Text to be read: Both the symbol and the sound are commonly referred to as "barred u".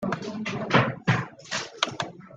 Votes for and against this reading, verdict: 0, 2, rejected